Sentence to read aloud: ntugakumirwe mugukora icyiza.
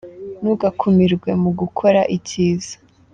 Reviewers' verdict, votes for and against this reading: accepted, 4, 0